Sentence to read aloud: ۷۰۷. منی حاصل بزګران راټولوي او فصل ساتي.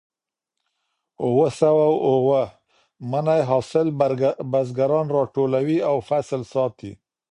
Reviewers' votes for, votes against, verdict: 0, 2, rejected